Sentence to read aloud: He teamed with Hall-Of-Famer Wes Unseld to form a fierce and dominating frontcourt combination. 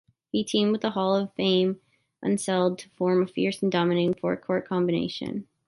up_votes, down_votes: 0, 2